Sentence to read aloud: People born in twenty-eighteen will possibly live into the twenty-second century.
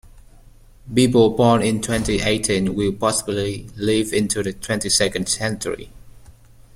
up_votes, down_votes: 2, 1